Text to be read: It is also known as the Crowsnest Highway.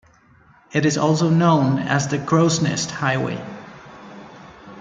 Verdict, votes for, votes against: accepted, 2, 0